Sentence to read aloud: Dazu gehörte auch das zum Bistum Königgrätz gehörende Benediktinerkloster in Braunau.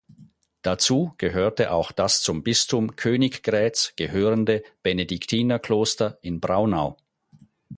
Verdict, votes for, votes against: accepted, 4, 0